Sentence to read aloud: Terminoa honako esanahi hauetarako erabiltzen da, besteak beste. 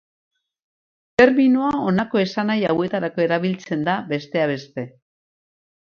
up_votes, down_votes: 2, 2